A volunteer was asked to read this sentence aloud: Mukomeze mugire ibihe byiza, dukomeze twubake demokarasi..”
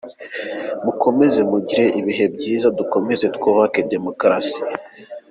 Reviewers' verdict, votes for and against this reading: accepted, 2, 0